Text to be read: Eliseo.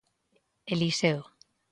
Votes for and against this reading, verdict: 2, 0, accepted